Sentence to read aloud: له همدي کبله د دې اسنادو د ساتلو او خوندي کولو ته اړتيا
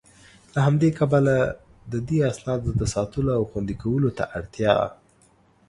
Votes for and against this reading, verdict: 2, 0, accepted